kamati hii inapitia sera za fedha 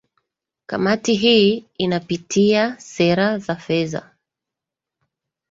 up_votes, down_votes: 2, 0